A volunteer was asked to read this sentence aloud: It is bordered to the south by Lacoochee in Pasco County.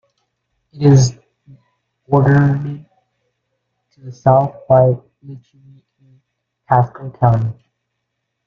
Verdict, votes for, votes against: rejected, 0, 2